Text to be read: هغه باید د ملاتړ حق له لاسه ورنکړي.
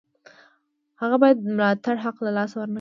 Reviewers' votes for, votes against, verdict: 2, 0, accepted